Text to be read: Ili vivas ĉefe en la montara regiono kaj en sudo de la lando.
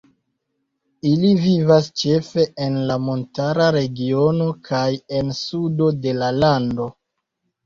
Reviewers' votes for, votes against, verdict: 1, 2, rejected